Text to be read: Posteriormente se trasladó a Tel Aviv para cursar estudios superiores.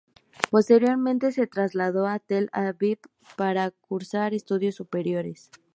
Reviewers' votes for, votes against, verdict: 2, 0, accepted